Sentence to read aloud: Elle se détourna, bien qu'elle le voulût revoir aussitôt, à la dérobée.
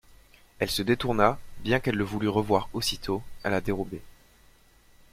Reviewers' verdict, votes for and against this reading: accepted, 2, 0